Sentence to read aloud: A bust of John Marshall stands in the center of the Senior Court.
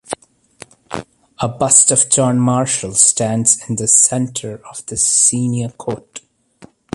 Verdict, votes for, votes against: accepted, 3, 1